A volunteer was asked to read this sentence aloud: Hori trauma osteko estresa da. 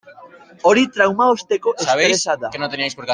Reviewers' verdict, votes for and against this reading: rejected, 0, 2